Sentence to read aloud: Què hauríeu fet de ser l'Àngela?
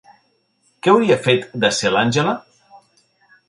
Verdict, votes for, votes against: rejected, 0, 2